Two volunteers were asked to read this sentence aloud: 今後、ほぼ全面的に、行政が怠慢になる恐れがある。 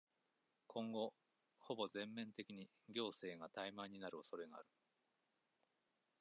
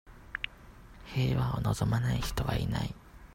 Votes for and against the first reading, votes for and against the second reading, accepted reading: 2, 0, 0, 2, first